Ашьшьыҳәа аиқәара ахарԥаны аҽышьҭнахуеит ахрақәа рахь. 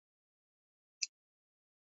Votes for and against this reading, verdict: 1, 2, rejected